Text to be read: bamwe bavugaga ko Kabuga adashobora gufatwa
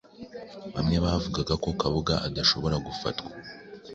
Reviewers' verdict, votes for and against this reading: accepted, 2, 0